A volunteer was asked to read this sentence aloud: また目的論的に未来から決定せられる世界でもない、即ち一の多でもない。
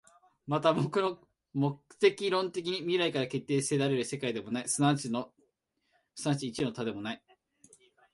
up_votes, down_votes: 0, 5